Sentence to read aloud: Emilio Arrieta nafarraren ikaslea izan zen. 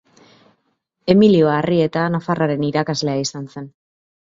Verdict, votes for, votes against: rejected, 0, 2